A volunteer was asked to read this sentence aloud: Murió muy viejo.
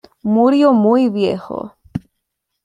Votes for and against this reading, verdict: 2, 0, accepted